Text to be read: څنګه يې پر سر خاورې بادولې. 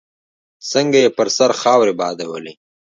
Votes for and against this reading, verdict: 2, 0, accepted